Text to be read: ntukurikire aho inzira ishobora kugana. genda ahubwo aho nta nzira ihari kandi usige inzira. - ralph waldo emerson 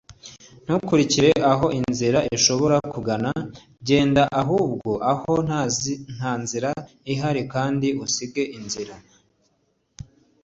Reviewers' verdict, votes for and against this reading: rejected, 1, 2